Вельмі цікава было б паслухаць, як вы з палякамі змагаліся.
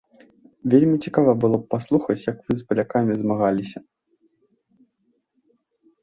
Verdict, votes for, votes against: accepted, 2, 0